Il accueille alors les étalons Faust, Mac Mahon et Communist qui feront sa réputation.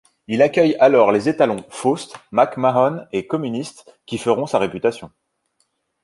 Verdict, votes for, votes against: rejected, 0, 2